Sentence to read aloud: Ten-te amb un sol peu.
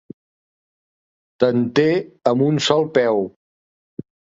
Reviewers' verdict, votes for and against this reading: accepted, 2, 0